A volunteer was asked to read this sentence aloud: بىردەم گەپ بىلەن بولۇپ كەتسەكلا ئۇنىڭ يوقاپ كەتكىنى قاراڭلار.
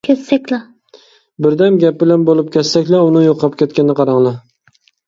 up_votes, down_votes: 0, 2